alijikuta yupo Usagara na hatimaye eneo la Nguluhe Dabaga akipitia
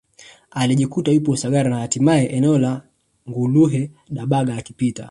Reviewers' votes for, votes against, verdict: 14, 2, accepted